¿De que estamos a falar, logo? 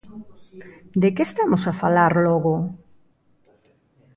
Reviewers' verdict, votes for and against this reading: accepted, 2, 0